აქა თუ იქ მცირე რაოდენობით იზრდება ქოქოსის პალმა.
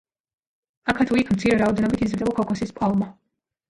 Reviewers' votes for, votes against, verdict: 2, 0, accepted